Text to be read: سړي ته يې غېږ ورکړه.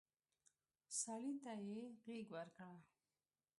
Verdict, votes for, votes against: rejected, 0, 2